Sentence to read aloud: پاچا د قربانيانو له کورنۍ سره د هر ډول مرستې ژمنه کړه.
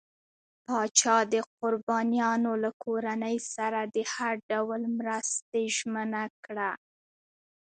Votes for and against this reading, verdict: 2, 0, accepted